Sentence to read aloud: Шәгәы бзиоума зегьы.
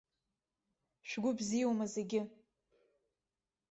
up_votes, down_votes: 0, 2